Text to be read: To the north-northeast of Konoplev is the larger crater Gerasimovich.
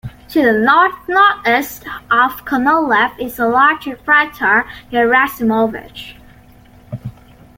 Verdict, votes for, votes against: rejected, 0, 2